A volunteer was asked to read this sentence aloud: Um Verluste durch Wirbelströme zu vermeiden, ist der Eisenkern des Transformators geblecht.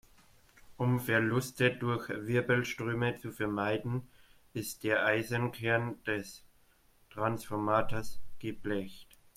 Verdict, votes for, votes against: rejected, 1, 2